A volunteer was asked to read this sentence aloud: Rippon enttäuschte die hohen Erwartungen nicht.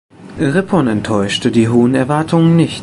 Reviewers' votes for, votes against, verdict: 1, 2, rejected